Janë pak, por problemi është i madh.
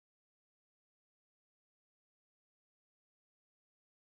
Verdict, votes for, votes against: rejected, 0, 2